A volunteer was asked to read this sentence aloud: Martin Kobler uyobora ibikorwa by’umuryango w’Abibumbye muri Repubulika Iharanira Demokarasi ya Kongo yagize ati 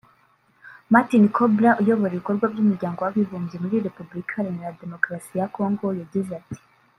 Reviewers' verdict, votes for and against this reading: rejected, 0, 2